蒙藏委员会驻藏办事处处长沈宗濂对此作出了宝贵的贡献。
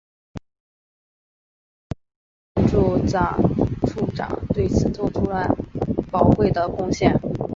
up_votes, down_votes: 0, 4